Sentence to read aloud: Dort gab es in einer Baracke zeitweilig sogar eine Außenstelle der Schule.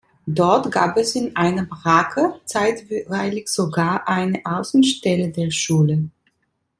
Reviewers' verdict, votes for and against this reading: rejected, 1, 2